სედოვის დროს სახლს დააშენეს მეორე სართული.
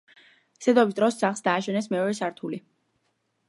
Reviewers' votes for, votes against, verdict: 2, 0, accepted